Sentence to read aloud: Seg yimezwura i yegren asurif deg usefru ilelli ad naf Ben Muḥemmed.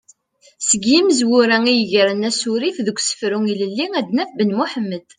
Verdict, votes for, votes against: accepted, 2, 0